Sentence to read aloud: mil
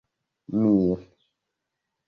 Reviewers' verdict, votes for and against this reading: accepted, 2, 1